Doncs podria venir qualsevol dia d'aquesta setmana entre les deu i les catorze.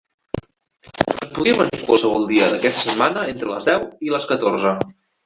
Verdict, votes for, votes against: rejected, 0, 2